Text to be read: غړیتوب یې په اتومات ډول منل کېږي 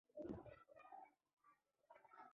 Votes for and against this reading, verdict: 1, 2, rejected